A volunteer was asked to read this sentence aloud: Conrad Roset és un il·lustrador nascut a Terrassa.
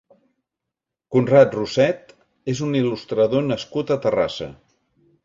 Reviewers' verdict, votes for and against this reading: accepted, 2, 0